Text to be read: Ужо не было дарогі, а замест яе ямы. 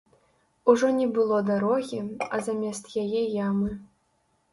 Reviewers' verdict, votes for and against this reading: accepted, 2, 0